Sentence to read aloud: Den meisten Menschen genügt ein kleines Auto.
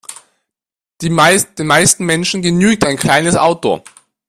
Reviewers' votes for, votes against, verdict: 0, 2, rejected